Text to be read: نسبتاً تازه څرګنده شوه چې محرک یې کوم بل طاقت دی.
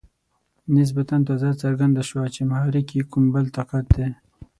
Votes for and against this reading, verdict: 12, 0, accepted